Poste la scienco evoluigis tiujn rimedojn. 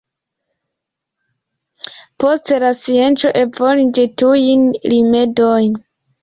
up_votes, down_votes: 2, 0